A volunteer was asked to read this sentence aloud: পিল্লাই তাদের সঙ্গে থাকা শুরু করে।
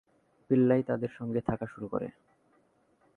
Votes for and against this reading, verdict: 5, 1, accepted